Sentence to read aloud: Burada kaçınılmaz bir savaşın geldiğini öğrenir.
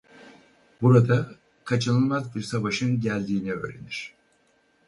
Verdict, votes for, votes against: rejected, 2, 2